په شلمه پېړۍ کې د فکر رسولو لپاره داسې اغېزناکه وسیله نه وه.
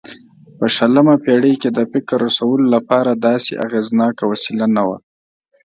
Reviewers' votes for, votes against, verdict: 2, 0, accepted